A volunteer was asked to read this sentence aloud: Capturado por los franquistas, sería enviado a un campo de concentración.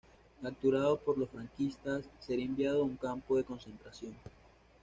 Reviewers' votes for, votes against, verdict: 1, 2, rejected